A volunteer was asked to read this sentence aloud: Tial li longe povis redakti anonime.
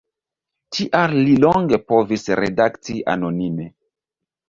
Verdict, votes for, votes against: accepted, 2, 0